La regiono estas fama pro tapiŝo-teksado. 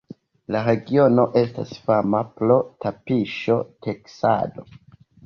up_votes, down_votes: 0, 2